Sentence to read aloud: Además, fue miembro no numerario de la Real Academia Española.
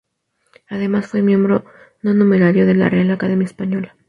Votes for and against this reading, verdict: 2, 0, accepted